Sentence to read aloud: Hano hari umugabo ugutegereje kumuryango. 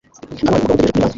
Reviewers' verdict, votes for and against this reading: rejected, 0, 2